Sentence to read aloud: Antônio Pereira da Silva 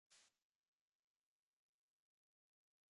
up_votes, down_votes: 0, 2